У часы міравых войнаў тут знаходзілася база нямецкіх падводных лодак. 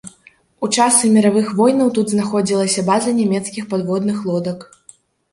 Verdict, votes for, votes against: rejected, 0, 2